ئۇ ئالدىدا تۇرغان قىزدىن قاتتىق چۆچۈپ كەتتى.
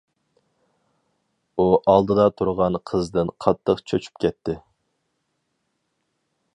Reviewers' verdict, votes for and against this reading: accepted, 4, 0